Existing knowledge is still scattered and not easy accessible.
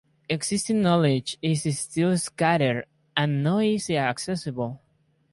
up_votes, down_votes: 0, 2